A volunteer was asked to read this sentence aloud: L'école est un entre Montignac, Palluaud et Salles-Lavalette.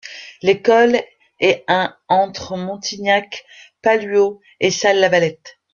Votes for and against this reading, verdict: 1, 2, rejected